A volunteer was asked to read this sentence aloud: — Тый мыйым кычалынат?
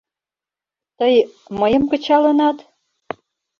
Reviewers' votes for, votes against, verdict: 2, 0, accepted